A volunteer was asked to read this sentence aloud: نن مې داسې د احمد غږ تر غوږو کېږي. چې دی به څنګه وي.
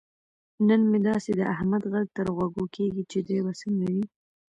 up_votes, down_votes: 1, 2